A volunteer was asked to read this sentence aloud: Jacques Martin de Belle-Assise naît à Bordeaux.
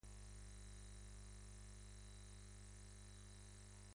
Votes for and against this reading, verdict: 0, 2, rejected